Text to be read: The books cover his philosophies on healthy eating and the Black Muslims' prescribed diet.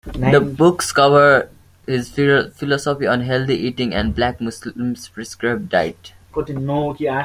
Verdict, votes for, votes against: rejected, 0, 2